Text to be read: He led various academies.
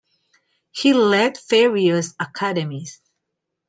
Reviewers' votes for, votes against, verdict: 2, 0, accepted